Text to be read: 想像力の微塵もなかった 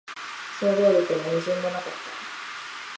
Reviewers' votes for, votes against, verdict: 0, 2, rejected